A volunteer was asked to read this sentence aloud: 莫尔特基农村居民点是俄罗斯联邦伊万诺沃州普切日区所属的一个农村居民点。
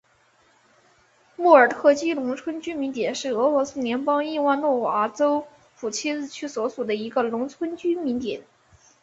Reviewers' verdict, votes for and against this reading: accepted, 3, 1